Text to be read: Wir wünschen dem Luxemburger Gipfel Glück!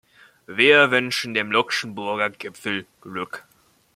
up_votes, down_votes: 1, 2